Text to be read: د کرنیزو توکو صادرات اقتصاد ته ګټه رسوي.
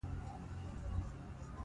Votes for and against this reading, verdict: 1, 2, rejected